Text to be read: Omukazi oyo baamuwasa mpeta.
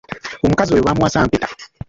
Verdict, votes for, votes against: rejected, 0, 2